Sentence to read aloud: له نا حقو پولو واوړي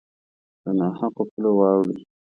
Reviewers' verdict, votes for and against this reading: accepted, 2, 0